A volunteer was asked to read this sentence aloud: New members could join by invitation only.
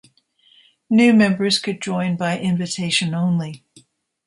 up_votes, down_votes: 2, 0